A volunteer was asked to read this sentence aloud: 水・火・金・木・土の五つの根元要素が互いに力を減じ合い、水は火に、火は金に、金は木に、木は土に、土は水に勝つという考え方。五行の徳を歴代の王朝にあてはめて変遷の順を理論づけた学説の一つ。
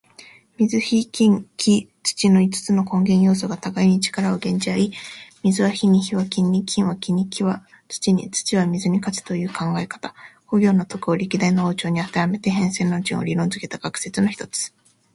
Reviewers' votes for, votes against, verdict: 2, 0, accepted